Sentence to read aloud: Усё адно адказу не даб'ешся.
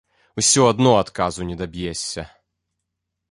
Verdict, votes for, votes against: accepted, 2, 0